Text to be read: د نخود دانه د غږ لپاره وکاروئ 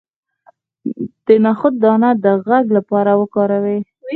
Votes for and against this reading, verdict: 4, 2, accepted